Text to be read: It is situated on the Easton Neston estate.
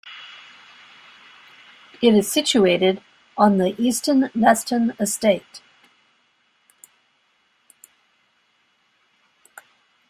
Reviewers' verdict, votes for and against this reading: rejected, 1, 2